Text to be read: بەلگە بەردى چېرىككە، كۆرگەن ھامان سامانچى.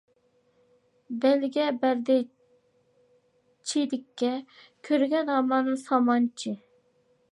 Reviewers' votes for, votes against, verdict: 2, 0, accepted